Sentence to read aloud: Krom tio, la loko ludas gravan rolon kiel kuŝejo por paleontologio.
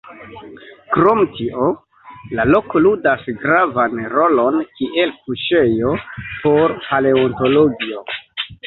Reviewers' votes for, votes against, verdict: 0, 2, rejected